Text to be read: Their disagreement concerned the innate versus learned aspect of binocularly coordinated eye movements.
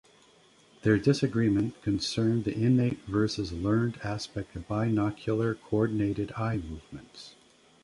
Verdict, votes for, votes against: rejected, 1, 2